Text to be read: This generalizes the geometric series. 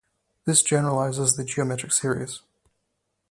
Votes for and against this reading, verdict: 2, 0, accepted